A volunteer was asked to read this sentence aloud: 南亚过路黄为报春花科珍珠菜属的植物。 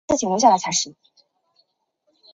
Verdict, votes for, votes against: rejected, 1, 2